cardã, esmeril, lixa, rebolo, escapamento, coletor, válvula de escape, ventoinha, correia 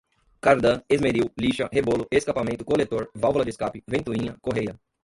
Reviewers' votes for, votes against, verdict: 1, 2, rejected